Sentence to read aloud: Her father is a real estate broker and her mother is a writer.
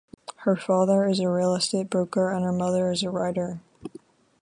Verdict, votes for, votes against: accepted, 8, 0